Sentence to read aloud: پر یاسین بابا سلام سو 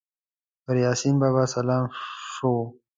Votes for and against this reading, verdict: 2, 0, accepted